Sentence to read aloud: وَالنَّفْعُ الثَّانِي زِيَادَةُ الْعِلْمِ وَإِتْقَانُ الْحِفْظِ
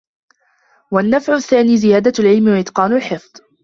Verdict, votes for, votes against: accepted, 2, 1